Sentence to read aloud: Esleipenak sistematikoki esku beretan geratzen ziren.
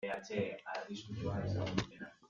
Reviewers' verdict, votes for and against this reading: rejected, 0, 2